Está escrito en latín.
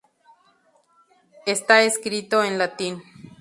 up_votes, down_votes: 2, 0